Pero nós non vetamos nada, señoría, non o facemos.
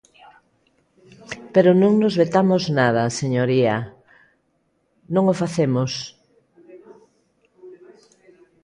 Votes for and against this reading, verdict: 0, 2, rejected